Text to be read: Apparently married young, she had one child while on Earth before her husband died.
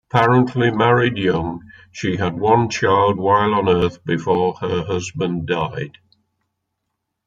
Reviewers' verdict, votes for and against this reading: accepted, 2, 0